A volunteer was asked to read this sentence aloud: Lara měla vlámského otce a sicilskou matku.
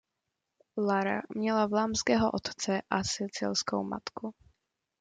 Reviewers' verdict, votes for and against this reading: accepted, 2, 0